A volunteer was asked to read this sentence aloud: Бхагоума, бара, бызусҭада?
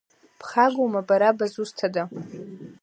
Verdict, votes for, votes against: accepted, 2, 0